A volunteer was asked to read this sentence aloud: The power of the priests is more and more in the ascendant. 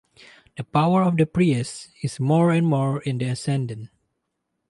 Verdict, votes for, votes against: rejected, 2, 2